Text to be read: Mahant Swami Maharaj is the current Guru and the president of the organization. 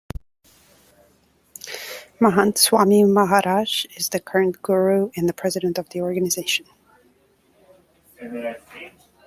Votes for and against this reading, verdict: 2, 0, accepted